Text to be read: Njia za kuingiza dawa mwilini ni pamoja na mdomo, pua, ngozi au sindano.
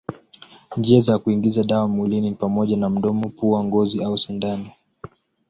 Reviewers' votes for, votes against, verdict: 2, 0, accepted